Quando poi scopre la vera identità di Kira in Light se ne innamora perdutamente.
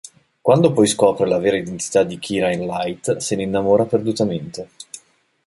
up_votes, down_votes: 1, 2